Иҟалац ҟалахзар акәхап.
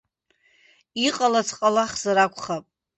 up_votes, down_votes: 2, 0